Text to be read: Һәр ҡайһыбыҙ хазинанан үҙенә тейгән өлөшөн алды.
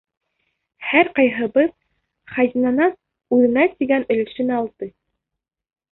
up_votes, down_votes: 2, 1